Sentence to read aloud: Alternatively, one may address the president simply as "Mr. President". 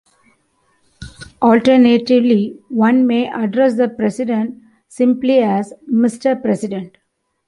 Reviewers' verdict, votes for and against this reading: accepted, 2, 0